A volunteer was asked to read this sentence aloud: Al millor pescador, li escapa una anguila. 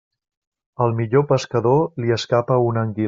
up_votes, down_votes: 1, 2